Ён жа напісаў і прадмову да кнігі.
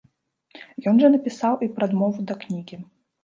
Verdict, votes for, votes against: rejected, 1, 2